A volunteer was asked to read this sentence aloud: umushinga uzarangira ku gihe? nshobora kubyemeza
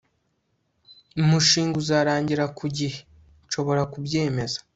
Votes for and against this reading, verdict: 2, 0, accepted